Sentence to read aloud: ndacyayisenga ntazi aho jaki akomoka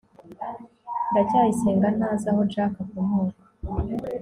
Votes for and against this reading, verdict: 0, 2, rejected